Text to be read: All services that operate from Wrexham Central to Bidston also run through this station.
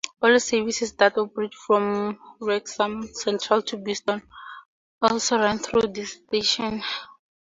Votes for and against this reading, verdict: 2, 0, accepted